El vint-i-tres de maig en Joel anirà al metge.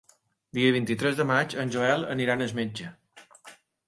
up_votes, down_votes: 2, 1